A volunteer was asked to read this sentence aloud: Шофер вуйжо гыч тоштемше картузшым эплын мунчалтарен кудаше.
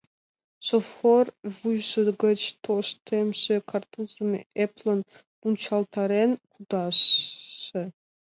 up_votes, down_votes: 1, 2